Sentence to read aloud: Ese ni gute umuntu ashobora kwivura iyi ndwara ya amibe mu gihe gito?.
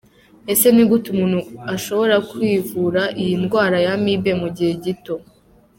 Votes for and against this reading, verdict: 2, 0, accepted